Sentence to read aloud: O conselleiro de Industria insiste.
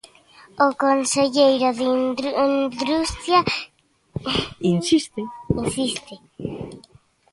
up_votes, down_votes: 0, 2